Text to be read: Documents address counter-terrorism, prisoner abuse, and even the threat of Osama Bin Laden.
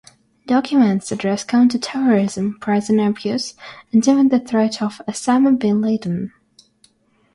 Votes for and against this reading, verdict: 0, 3, rejected